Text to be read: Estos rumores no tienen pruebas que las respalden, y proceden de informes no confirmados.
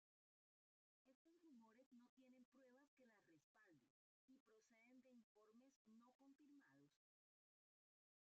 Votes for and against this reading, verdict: 0, 2, rejected